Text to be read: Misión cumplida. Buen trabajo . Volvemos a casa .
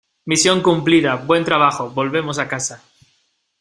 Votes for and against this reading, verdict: 2, 0, accepted